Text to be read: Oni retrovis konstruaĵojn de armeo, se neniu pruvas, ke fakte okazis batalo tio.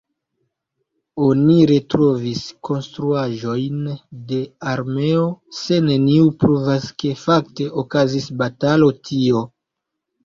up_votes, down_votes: 1, 2